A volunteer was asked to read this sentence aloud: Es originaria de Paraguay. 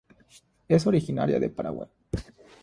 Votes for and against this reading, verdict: 0, 3, rejected